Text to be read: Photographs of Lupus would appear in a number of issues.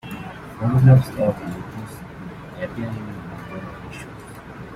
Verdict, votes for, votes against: accepted, 2, 0